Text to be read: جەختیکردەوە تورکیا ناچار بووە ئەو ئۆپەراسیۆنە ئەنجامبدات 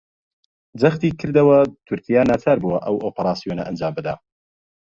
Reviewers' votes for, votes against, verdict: 2, 0, accepted